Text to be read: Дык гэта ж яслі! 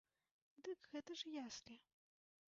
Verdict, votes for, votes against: rejected, 1, 2